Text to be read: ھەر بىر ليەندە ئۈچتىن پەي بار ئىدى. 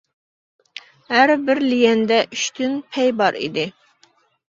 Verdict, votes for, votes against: accepted, 2, 0